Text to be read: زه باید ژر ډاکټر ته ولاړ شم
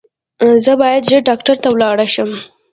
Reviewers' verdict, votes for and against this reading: rejected, 0, 2